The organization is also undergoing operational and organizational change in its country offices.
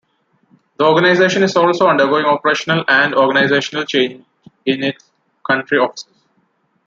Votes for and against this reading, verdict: 2, 0, accepted